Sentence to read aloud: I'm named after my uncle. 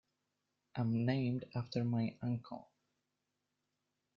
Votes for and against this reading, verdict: 2, 0, accepted